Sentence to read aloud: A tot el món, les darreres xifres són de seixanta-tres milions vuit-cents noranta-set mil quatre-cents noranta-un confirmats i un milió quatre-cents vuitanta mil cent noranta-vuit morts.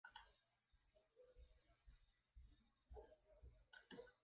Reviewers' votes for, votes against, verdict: 0, 2, rejected